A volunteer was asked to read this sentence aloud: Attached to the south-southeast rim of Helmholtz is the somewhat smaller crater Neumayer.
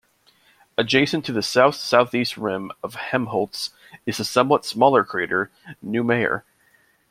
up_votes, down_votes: 0, 2